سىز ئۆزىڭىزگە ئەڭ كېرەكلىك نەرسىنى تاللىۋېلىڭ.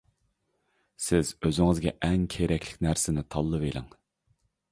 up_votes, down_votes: 2, 0